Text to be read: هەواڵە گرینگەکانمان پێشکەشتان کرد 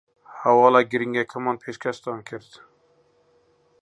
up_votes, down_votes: 1, 2